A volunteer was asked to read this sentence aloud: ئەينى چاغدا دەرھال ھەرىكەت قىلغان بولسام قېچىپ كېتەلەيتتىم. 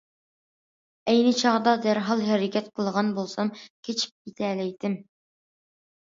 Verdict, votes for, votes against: accepted, 2, 0